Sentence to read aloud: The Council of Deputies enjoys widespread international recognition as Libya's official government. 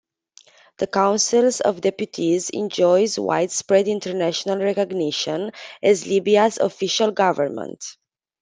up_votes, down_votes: 0, 2